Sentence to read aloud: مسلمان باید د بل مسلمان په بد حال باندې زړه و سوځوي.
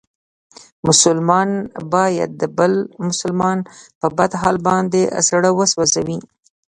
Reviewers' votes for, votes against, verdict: 2, 0, accepted